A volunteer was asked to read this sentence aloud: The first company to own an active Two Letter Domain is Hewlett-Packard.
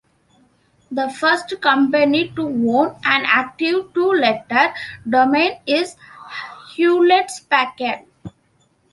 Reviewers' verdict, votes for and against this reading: rejected, 0, 2